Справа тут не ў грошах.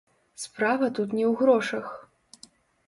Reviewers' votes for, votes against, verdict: 0, 2, rejected